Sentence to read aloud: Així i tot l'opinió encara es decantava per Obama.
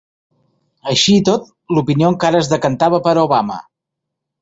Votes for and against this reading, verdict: 3, 0, accepted